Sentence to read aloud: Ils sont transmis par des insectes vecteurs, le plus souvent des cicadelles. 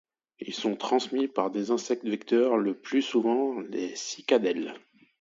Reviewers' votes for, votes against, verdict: 1, 2, rejected